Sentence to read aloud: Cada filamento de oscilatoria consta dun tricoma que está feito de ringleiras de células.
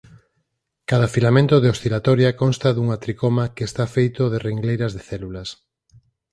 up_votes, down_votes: 2, 4